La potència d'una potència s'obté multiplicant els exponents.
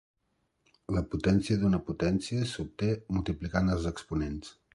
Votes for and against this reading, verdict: 3, 0, accepted